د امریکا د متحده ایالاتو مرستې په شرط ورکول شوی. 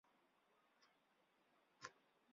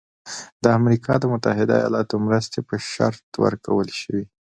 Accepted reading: second